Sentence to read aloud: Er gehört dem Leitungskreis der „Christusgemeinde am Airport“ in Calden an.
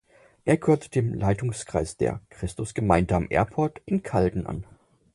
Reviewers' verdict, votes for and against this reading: accepted, 6, 2